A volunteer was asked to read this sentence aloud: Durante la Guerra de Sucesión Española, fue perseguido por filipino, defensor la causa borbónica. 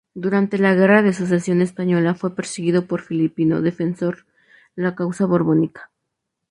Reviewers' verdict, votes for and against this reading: accepted, 2, 0